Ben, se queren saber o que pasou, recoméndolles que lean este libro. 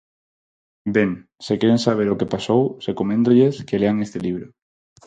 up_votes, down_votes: 2, 2